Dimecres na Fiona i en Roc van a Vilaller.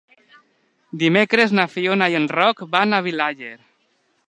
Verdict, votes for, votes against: rejected, 1, 2